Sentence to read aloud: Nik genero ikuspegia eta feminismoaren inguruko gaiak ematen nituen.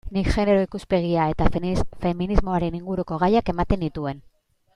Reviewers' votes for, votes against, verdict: 1, 2, rejected